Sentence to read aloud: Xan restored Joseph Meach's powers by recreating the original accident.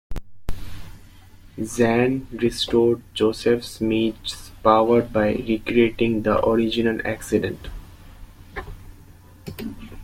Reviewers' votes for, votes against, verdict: 0, 2, rejected